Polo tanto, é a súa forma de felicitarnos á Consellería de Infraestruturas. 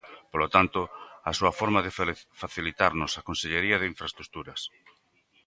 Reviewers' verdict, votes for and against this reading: rejected, 0, 2